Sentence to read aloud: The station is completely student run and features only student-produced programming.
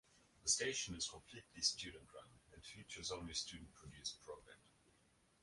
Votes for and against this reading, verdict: 0, 2, rejected